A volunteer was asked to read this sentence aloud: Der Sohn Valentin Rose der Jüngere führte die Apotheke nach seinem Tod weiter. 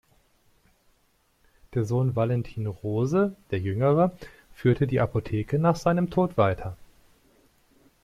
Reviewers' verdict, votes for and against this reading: accepted, 2, 0